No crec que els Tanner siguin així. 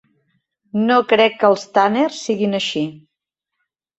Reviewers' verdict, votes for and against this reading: rejected, 1, 2